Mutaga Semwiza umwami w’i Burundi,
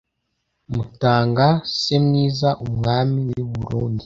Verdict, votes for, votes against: rejected, 0, 2